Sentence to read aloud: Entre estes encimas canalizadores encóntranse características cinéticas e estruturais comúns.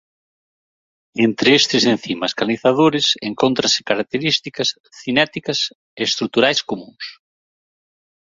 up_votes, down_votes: 0, 2